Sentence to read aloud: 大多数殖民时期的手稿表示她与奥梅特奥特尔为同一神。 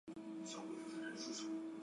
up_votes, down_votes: 0, 5